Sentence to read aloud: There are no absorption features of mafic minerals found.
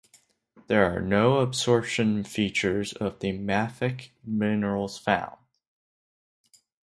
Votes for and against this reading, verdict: 0, 2, rejected